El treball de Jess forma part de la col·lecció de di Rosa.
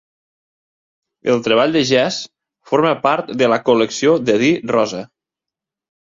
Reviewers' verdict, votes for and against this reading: accepted, 2, 1